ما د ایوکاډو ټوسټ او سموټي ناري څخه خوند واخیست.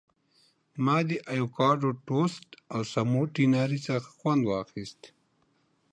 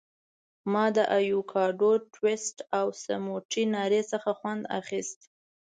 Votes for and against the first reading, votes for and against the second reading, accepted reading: 2, 1, 1, 2, first